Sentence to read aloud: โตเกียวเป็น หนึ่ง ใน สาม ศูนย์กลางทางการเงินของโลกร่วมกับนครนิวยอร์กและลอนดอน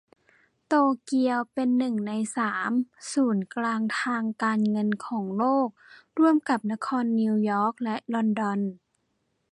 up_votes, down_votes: 2, 1